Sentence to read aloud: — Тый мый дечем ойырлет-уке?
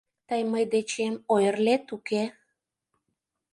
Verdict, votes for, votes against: accepted, 2, 0